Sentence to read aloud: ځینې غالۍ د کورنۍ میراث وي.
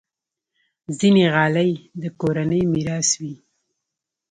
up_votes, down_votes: 1, 2